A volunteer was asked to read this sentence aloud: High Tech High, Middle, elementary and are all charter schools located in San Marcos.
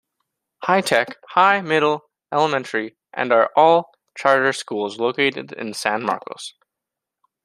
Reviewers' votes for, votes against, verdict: 0, 2, rejected